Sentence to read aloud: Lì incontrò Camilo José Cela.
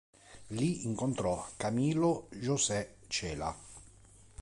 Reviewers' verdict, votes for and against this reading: accepted, 2, 0